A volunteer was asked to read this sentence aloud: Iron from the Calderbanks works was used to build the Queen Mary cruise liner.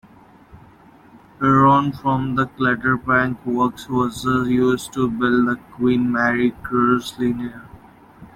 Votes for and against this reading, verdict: 1, 2, rejected